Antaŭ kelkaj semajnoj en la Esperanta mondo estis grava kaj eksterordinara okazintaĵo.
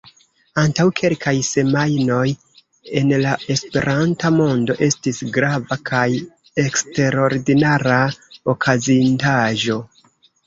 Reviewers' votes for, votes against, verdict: 1, 2, rejected